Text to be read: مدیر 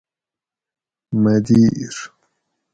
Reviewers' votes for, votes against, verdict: 2, 2, rejected